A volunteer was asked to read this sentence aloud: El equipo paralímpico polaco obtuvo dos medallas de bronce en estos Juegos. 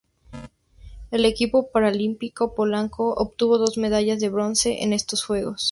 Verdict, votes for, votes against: rejected, 0, 2